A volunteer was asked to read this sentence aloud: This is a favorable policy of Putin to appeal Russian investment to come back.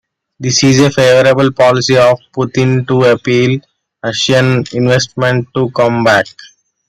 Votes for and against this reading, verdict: 2, 1, accepted